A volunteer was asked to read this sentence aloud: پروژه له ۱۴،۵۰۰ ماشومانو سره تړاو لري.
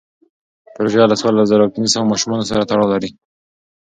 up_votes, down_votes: 0, 2